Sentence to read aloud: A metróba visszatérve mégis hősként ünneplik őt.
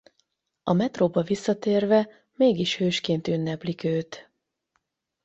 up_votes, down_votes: 4, 0